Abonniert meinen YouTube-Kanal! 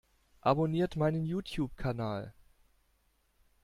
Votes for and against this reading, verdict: 2, 0, accepted